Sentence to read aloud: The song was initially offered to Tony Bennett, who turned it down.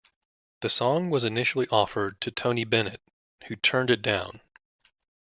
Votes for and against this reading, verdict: 2, 0, accepted